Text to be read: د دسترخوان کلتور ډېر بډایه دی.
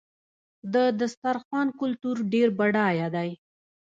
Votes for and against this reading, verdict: 1, 2, rejected